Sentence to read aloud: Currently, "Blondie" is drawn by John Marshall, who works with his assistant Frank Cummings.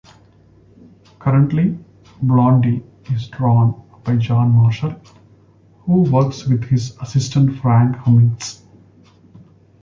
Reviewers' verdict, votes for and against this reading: accepted, 2, 1